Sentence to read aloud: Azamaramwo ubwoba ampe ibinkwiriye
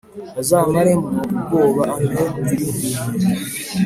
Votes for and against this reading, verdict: 2, 1, accepted